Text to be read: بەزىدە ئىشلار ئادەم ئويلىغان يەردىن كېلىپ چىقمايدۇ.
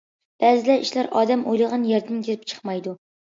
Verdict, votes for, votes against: accepted, 2, 0